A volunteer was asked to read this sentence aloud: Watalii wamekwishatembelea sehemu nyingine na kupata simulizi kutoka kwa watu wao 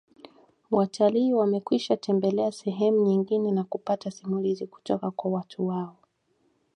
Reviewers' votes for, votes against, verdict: 2, 0, accepted